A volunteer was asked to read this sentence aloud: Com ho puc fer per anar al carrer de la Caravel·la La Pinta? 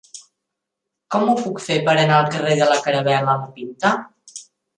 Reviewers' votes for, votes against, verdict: 0, 2, rejected